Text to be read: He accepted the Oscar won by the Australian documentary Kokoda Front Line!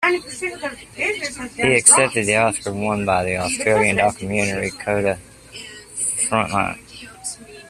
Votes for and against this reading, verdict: 1, 2, rejected